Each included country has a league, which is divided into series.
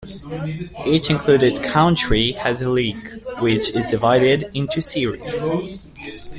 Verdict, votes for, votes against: rejected, 1, 2